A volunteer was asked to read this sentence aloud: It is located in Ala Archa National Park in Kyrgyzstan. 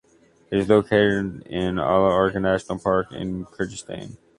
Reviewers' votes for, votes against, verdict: 2, 1, accepted